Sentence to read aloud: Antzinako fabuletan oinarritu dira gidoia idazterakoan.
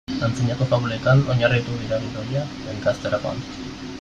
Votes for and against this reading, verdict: 0, 2, rejected